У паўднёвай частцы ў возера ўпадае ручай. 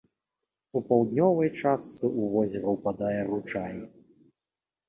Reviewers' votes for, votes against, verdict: 2, 0, accepted